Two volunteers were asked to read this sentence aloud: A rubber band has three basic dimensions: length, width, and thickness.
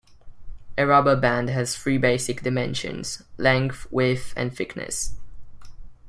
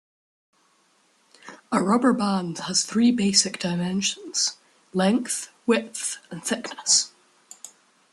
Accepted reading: second